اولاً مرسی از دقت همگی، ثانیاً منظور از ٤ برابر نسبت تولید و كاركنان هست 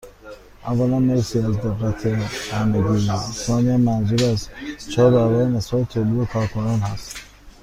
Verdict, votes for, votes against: rejected, 0, 2